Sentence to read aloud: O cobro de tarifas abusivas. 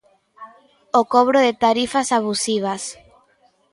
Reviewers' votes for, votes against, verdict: 2, 0, accepted